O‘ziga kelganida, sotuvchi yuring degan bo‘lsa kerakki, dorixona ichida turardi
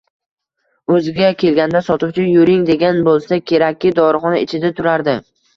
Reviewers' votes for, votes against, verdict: 2, 0, accepted